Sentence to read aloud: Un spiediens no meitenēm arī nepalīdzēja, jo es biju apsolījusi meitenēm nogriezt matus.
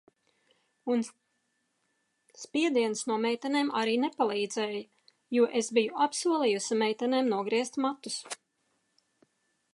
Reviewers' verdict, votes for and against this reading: rejected, 1, 2